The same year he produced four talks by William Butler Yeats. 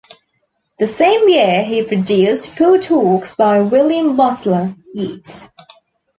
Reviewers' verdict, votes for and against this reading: rejected, 1, 2